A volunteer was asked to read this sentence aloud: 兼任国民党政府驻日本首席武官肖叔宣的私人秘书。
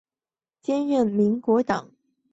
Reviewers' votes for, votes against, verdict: 1, 3, rejected